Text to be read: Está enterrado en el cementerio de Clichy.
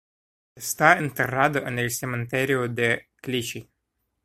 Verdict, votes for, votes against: accepted, 2, 0